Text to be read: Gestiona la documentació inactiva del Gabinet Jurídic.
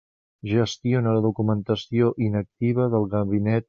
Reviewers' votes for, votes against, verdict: 0, 2, rejected